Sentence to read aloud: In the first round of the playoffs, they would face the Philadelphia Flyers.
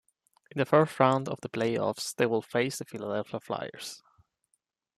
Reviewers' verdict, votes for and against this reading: rejected, 0, 2